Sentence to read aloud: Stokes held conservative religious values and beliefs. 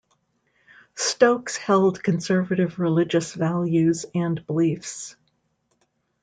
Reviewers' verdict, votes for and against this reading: accepted, 2, 0